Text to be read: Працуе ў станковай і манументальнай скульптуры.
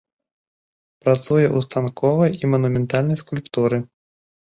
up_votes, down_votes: 3, 0